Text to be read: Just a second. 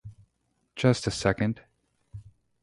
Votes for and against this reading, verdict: 0, 2, rejected